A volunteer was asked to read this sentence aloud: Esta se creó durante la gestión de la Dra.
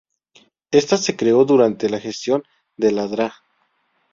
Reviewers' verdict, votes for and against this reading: rejected, 0, 2